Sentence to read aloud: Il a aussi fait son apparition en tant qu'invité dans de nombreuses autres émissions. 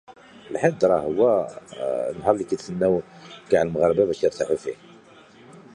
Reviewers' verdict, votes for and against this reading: rejected, 0, 2